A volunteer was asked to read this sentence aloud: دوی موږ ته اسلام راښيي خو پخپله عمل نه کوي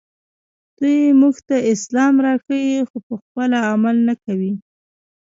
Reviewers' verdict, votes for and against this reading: accepted, 2, 0